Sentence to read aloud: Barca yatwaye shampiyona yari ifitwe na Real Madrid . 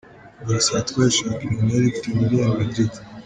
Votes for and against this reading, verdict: 0, 2, rejected